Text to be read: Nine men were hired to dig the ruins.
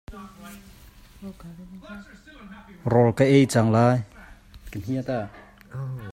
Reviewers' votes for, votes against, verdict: 0, 2, rejected